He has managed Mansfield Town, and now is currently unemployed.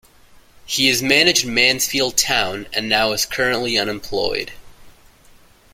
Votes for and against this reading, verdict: 2, 0, accepted